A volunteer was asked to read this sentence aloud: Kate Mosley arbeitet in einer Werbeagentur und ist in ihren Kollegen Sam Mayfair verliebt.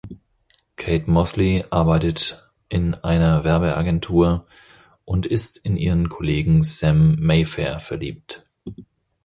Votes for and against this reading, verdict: 4, 0, accepted